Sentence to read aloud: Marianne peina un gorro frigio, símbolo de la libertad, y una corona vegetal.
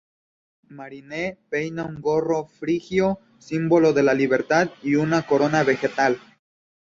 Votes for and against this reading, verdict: 0, 2, rejected